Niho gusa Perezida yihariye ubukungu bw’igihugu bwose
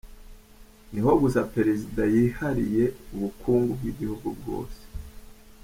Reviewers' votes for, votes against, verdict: 2, 0, accepted